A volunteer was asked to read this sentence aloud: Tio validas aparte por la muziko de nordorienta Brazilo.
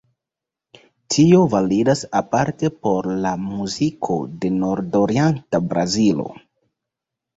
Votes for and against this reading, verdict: 2, 0, accepted